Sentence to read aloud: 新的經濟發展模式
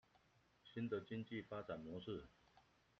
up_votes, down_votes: 2, 0